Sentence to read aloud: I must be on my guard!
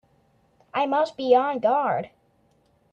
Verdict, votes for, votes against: rejected, 1, 2